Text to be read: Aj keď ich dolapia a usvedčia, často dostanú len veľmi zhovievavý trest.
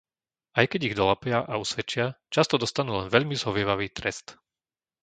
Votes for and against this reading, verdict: 2, 0, accepted